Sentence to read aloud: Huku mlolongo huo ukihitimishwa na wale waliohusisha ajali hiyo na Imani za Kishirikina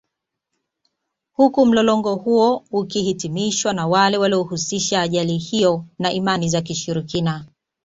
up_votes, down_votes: 2, 1